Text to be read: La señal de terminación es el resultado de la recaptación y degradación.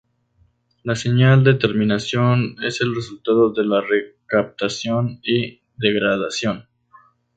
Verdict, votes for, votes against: accepted, 4, 0